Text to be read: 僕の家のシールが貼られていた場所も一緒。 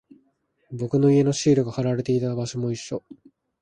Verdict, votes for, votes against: accepted, 2, 0